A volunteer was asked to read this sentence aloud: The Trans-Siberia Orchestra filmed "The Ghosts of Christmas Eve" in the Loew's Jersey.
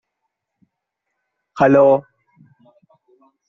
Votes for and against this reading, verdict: 0, 2, rejected